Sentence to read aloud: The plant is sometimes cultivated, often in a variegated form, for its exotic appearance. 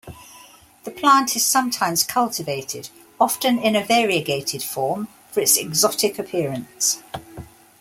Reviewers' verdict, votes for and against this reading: accepted, 2, 0